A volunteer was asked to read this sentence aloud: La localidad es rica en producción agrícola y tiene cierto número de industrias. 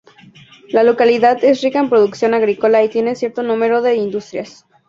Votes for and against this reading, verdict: 2, 0, accepted